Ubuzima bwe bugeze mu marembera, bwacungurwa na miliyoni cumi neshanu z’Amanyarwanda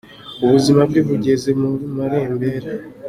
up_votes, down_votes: 0, 2